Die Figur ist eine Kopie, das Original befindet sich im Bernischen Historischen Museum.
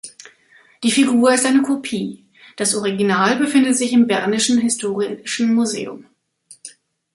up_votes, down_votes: 0, 2